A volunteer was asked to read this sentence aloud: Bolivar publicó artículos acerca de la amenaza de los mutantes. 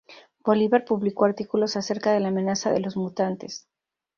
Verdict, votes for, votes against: accepted, 2, 0